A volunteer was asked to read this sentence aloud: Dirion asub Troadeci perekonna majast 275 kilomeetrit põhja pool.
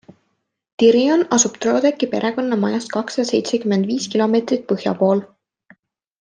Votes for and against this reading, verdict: 0, 2, rejected